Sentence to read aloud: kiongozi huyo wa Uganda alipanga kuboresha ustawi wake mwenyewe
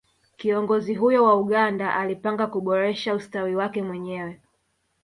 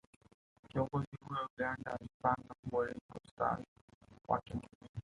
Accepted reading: first